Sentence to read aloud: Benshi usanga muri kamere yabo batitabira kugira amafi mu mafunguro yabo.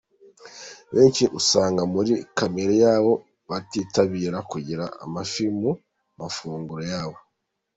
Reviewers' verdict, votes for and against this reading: accepted, 3, 0